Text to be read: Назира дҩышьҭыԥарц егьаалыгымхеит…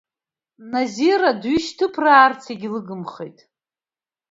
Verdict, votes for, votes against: rejected, 1, 2